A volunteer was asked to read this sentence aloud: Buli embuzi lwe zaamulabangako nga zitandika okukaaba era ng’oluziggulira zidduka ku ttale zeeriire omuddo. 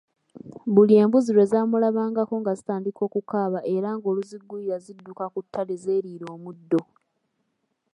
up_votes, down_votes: 2, 0